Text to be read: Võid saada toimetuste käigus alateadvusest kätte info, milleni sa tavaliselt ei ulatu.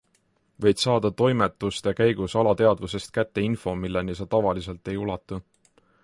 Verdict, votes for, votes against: accepted, 3, 0